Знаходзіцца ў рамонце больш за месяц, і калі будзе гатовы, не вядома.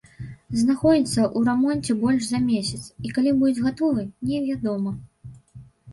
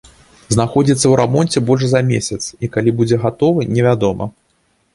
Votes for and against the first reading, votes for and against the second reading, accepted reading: 1, 2, 2, 0, second